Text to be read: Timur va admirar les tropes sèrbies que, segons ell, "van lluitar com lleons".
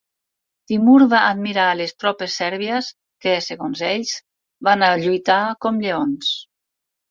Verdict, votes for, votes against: rejected, 0, 4